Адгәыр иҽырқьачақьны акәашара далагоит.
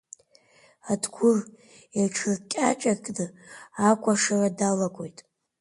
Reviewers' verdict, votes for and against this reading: rejected, 0, 2